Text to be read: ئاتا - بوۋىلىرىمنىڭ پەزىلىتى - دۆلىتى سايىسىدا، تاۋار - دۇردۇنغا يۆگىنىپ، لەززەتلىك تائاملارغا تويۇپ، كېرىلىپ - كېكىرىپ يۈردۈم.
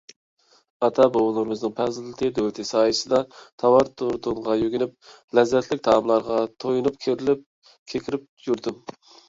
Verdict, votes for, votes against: rejected, 1, 2